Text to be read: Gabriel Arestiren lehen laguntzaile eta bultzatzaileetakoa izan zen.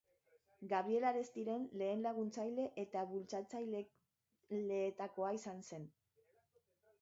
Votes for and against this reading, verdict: 0, 3, rejected